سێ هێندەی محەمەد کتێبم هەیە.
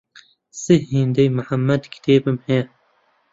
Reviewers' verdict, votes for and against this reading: accepted, 2, 1